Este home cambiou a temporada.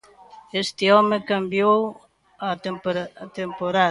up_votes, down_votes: 0, 2